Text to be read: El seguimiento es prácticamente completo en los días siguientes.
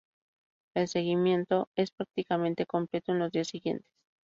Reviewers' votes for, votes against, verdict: 0, 4, rejected